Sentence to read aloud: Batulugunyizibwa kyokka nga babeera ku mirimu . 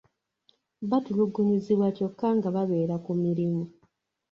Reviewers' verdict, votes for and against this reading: rejected, 1, 2